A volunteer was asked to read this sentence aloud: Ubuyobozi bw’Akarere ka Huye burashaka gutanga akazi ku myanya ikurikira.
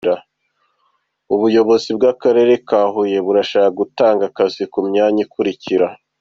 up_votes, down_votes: 2, 0